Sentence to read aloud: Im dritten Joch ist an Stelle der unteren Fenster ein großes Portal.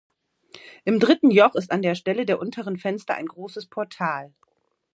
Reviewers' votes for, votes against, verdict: 0, 2, rejected